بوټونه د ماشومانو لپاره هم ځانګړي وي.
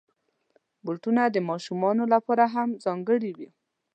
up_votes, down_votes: 2, 0